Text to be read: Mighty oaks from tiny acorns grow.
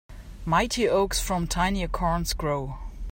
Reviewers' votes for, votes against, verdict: 1, 2, rejected